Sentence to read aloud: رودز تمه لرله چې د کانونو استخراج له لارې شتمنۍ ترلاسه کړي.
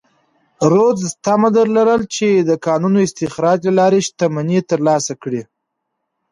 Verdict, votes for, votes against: accepted, 2, 0